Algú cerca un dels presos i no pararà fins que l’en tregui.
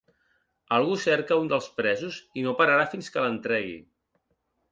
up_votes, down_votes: 2, 0